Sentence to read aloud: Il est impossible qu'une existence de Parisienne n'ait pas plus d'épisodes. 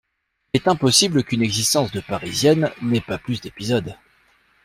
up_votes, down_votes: 1, 2